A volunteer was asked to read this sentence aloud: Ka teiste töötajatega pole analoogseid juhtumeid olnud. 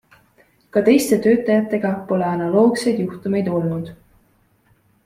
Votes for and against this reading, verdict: 2, 0, accepted